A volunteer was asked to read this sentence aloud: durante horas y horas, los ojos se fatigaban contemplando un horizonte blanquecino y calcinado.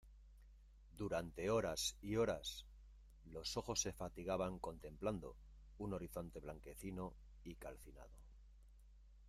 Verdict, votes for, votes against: rejected, 0, 2